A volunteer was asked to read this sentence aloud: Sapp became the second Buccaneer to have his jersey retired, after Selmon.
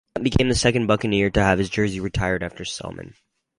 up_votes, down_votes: 0, 4